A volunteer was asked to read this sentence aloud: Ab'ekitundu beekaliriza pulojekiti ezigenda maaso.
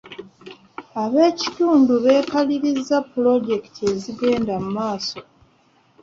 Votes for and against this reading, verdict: 2, 0, accepted